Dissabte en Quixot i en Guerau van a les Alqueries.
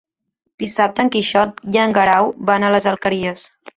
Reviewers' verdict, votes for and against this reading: accepted, 2, 1